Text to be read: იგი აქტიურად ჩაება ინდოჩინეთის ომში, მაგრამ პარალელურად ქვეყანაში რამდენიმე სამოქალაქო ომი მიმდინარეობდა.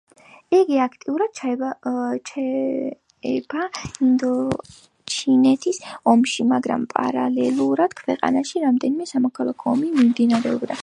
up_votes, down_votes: 1, 3